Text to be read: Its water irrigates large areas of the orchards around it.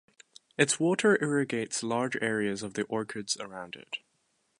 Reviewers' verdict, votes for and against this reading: rejected, 1, 2